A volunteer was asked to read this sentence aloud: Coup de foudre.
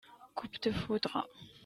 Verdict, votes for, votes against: rejected, 1, 2